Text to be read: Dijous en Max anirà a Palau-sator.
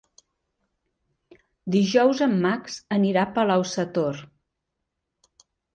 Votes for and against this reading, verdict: 3, 0, accepted